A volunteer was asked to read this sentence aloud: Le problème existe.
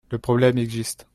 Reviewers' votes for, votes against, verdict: 2, 0, accepted